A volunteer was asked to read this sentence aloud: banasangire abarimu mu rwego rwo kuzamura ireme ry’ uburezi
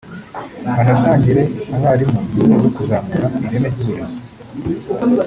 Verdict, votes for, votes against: rejected, 1, 2